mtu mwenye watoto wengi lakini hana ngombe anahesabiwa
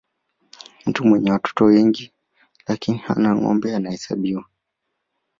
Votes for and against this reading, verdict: 4, 0, accepted